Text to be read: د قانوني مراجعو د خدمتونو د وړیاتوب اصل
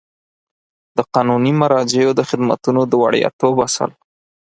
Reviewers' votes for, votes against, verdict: 4, 0, accepted